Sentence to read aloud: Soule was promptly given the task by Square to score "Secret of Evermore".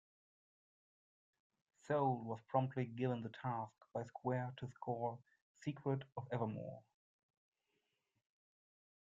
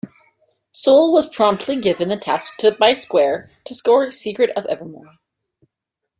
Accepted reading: first